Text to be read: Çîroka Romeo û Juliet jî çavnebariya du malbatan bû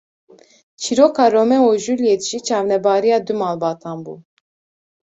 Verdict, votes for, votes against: accepted, 2, 0